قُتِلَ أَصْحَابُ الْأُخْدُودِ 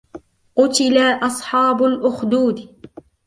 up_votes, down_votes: 2, 1